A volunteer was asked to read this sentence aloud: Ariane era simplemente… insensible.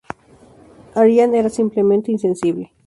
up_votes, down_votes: 0, 2